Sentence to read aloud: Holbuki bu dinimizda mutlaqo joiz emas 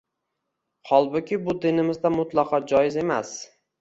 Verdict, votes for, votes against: accepted, 2, 0